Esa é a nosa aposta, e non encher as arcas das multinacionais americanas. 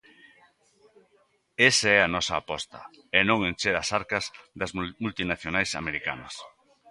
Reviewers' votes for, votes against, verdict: 0, 2, rejected